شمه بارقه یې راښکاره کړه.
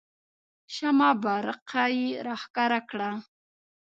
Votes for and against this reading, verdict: 2, 0, accepted